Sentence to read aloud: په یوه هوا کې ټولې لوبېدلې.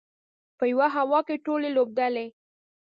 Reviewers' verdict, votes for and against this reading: rejected, 0, 2